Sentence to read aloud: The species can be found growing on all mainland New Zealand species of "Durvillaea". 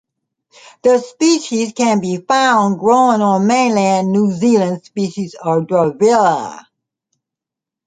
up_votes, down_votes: 2, 1